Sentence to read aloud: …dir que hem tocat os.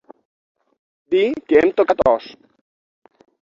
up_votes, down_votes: 6, 0